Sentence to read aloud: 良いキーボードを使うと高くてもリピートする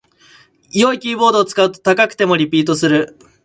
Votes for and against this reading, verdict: 2, 0, accepted